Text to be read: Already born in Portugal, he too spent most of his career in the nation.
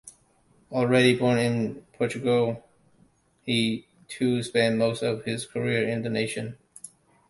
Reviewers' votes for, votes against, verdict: 2, 0, accepted